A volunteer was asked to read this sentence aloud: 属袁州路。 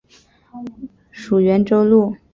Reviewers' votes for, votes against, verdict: 3, 0, accepted